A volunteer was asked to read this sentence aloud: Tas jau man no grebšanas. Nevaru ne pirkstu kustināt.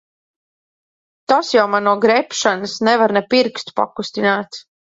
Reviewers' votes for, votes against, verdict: 0, 2, rejected